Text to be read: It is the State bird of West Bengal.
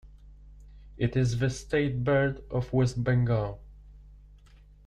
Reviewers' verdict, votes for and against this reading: accepted, 2, 0